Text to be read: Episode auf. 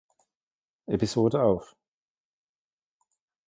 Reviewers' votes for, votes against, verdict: 2, 0, accepted